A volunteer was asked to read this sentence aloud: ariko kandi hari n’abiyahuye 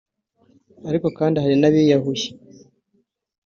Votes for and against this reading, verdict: 2, 0, accepted